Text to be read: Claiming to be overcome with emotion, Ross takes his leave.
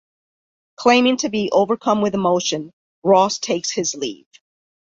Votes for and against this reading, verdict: 2, 0, accepted